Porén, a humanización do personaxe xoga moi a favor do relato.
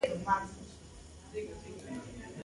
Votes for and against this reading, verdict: 0, 2, rejected